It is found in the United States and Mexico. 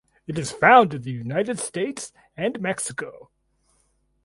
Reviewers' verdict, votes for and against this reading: accepted, 2, 0